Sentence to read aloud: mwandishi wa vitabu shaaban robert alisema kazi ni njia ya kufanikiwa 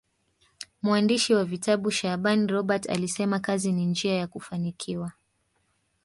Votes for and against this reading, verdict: 2, 1, accepted